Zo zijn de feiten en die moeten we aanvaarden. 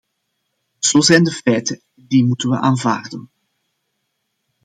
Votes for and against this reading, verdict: 2, 0, accepted